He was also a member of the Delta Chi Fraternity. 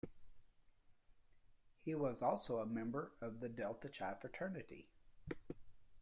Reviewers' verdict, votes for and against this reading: accepted, 2, 1